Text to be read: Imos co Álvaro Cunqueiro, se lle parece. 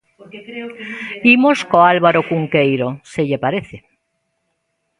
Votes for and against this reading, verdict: 0, 2, rejected